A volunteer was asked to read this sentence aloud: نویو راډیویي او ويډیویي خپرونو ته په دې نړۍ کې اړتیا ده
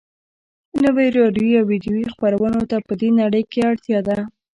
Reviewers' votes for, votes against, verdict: 1, 2, rejected